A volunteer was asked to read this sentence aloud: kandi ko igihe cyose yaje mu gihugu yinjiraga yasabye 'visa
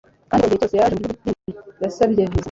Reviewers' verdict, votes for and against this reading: rejected, 1, 2